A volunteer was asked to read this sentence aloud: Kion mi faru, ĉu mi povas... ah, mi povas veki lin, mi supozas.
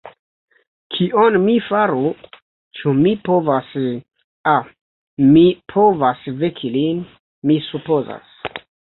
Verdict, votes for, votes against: rejected, 1, 2